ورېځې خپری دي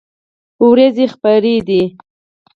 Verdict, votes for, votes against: accepted, 4, 0